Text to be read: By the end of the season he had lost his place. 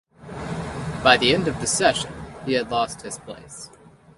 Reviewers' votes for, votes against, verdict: 2, 1, accepted